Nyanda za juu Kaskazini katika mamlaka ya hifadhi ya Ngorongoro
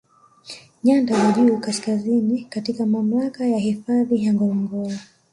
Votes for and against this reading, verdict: 2, 1, accepted